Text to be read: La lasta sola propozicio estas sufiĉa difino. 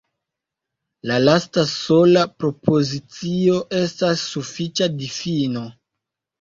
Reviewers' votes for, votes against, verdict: 1, 2, rejected